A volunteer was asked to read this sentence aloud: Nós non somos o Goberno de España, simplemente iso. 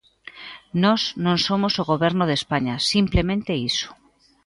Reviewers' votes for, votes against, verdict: 2, 0, accepted